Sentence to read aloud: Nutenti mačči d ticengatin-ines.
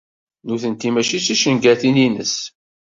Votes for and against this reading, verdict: 2, 0, accepted